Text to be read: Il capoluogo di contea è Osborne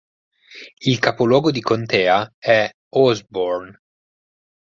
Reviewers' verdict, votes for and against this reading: accepted, 4, 0